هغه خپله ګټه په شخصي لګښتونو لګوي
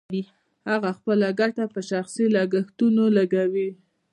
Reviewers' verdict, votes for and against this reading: accepted, 2, 0